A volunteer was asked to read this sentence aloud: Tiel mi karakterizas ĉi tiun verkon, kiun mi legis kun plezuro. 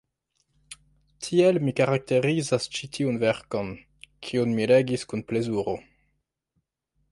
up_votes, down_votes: 1, 2